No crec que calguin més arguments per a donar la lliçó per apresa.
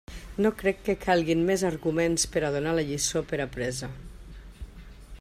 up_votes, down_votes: 2, 0